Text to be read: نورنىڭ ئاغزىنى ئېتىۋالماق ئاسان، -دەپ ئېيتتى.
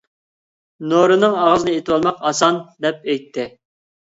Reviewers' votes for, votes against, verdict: 0, 2, rejected